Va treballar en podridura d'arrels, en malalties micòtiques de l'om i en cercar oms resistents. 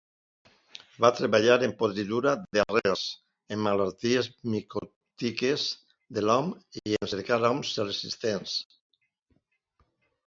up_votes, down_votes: 0, 2